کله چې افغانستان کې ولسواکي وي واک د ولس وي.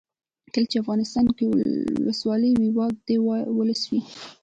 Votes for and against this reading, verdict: 0, 2, rejected